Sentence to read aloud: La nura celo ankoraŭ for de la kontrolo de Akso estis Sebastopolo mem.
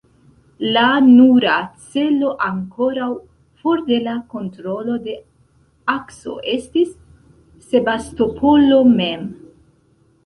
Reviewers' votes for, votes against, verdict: 0, 2, rejected